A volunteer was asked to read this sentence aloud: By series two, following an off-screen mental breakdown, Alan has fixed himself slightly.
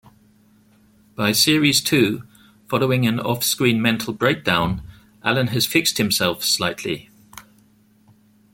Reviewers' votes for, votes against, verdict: 2, 0, accepted